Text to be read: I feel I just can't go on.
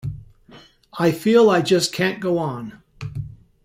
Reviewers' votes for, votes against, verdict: 2, 0, accepted